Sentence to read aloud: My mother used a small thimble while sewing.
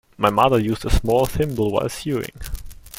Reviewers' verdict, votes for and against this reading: rejected, 0, 2